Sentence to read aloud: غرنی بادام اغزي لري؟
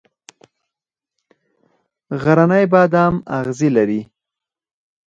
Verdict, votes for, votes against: accepted, 4, 0